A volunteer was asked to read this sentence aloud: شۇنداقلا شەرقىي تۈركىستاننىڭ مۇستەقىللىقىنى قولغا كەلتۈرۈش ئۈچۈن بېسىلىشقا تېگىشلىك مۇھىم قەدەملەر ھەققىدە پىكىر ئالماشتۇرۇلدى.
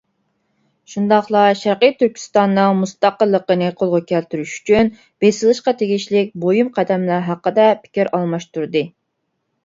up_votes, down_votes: 0, 2